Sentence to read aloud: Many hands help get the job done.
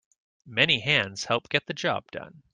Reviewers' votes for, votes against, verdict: 2, 0, accepted